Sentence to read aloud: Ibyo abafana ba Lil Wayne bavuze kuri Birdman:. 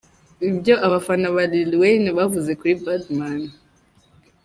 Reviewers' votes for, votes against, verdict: 0, 3, rejected